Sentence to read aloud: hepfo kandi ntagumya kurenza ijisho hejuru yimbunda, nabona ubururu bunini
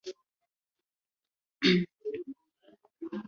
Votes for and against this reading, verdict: 0, 2, rejected